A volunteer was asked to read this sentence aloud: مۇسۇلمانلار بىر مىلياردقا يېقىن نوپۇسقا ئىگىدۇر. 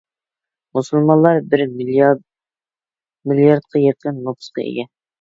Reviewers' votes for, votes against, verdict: 0, 2, rejected